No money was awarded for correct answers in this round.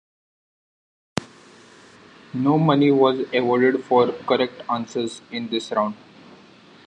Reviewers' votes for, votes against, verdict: 2, 0, accepted